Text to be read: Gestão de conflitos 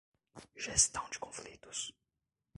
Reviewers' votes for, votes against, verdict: 0, 2, rejected